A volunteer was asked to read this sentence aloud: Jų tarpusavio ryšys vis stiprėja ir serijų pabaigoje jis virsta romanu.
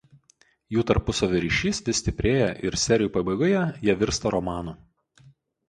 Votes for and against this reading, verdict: 0, 4, rejected